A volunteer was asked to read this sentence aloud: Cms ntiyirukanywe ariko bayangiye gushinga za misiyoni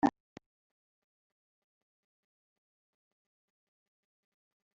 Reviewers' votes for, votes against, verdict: 0, 2, rejected